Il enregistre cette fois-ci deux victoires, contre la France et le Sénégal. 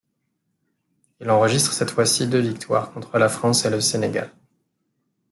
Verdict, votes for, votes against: accepted, 2, 0